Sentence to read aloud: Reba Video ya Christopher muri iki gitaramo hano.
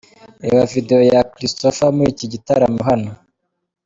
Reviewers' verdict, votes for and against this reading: accepted, 2, 0